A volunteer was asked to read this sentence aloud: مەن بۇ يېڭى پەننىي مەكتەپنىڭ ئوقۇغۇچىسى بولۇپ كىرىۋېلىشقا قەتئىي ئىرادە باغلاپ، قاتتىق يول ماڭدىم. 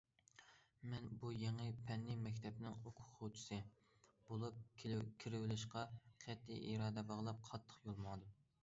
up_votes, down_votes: 0, 2